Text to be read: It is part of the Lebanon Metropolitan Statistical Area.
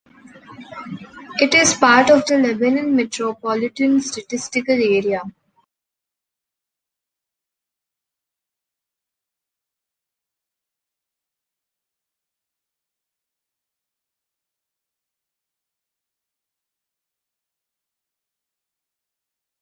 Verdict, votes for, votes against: rejected, 1, 2